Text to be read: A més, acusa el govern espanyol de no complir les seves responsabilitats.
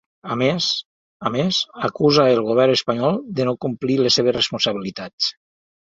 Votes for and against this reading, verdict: 0, 3, rejected